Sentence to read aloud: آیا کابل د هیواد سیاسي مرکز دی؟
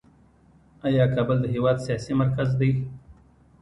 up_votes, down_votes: 2, 1